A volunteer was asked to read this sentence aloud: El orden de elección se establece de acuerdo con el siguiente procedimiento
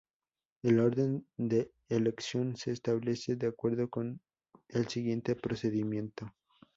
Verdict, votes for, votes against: accepted, 2, 0